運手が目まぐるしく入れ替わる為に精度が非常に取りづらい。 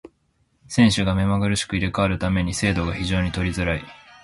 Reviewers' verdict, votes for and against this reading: accepted, 2, 0